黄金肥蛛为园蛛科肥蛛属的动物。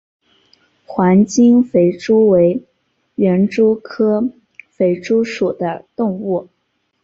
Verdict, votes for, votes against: accepted, 3, 2